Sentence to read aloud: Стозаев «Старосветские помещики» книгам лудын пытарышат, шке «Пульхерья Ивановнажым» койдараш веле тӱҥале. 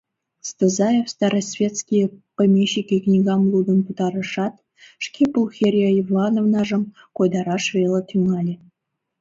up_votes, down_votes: 2, 0